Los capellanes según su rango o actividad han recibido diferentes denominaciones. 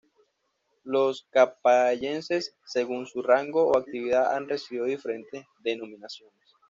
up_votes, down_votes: 1, 2